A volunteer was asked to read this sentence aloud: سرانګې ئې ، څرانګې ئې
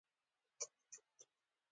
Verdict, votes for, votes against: accepted, 2, 0